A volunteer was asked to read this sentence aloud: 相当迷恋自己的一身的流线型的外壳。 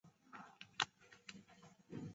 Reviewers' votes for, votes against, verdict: 0, 2, rejected